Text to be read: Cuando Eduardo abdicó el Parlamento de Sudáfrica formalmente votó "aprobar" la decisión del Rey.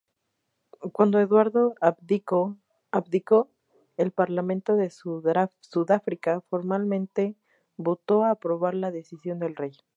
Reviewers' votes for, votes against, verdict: 0, 2, rejected